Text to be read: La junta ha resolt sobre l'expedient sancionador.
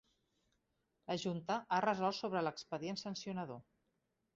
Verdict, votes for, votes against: rejected, 0, 2